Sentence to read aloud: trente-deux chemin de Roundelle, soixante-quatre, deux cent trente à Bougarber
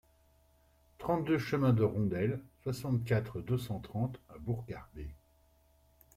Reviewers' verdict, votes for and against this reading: rejected, 1, 2